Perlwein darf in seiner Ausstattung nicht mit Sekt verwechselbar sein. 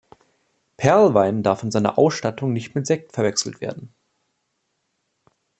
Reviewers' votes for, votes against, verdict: 0, 2, rejected